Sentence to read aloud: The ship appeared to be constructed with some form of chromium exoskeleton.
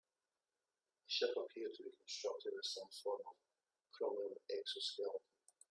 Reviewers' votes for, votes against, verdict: 0, 2, rejected